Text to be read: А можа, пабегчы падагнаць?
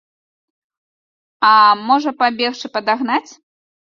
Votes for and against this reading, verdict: 2, 0, accepted